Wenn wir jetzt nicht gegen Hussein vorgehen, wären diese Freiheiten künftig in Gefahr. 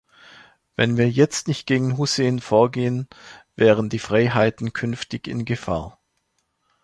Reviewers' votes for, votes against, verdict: 0, 2, rejected